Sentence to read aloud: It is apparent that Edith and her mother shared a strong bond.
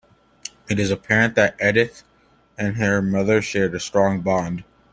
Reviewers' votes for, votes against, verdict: 2, 0, accepted